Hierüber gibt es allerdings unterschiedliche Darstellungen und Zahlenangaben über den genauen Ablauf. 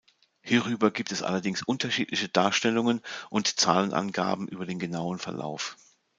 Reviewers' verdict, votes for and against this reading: rejected, 1, 2